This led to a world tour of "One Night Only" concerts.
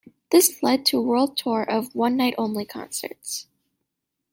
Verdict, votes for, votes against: accepted, 2, 1